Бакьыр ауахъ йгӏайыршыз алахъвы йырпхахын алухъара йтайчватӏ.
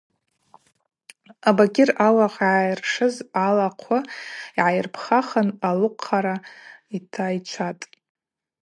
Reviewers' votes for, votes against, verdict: 0, 2, rejected